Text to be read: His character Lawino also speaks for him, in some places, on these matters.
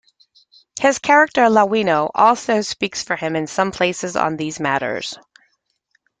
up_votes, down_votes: 1, 2